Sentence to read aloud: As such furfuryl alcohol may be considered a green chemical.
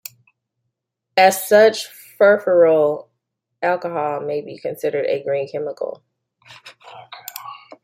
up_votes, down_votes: 2, 1